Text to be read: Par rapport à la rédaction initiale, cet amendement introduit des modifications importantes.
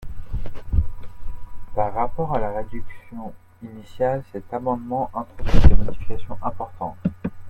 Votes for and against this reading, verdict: 0, 2, rejected